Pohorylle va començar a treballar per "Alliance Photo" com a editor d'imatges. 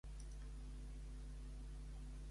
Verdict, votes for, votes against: rejected, 0, 2